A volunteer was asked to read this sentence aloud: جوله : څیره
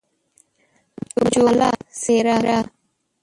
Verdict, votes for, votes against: rejected, 1, 2